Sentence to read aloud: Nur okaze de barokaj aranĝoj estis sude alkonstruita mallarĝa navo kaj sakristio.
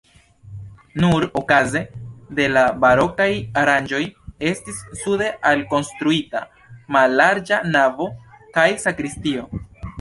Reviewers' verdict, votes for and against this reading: rejected, 2, 3